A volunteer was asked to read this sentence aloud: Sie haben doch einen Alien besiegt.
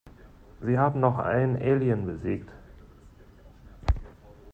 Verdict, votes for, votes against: rejected, 0, 2